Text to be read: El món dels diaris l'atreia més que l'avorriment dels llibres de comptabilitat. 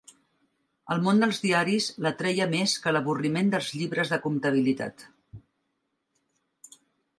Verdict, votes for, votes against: accepted, 2, 0